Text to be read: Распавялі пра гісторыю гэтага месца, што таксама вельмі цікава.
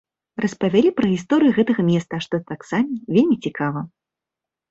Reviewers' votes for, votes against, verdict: 1, 2, rejected